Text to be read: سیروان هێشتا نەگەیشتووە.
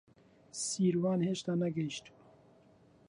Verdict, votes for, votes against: rejected, 0, 2